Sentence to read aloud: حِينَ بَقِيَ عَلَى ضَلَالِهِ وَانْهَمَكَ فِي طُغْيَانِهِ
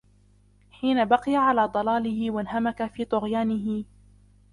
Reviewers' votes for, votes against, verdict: 1, 2, rejected